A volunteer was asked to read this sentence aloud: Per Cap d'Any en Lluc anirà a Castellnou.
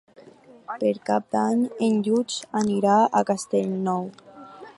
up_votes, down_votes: 4, 0